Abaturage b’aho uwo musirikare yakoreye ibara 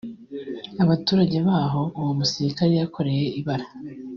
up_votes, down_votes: 2, 0